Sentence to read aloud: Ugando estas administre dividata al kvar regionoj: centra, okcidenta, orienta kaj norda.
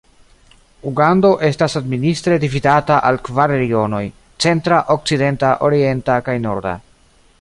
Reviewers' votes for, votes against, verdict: 2, 0, accepted